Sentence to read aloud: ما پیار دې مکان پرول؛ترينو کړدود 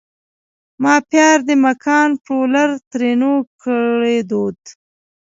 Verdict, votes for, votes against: rejected, 1, 2